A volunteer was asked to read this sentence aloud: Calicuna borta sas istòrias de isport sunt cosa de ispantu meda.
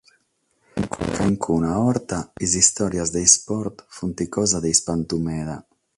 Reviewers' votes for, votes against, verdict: 0, 6, rejected